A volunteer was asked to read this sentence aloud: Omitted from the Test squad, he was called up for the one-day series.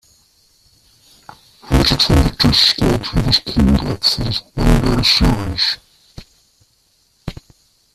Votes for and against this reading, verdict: 0, 2, rejected